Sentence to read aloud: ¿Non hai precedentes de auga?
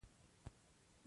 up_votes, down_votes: 0, 2